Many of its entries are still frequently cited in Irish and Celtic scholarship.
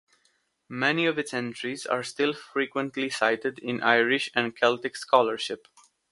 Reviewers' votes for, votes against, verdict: 2, 0, accepted